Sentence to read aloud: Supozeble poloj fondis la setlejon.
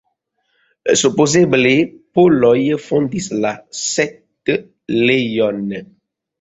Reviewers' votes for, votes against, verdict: 0, 2, rejected